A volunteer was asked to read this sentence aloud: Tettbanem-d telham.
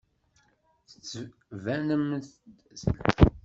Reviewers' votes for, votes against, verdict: 0, 2, rejected